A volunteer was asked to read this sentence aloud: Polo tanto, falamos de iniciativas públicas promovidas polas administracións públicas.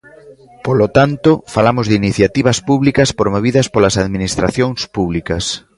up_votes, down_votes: 2, 0